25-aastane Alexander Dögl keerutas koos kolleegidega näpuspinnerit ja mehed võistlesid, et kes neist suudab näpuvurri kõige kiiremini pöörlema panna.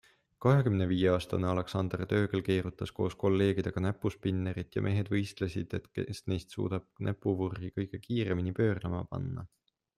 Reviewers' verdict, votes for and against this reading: rejected, 0, 2